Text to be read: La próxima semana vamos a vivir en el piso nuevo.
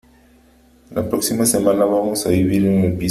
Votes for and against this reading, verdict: 0, 3, rejected